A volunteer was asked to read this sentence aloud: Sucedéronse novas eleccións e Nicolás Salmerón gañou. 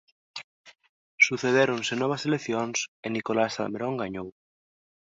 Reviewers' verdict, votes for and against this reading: accepted, 2, 0